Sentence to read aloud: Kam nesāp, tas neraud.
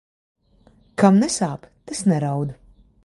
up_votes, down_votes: 2, 1